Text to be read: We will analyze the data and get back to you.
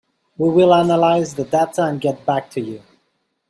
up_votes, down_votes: 2, 0